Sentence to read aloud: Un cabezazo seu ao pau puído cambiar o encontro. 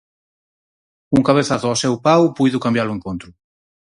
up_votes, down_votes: 0, 4